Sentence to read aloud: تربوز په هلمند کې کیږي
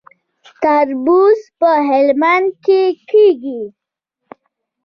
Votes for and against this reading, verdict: 1, 2, rejected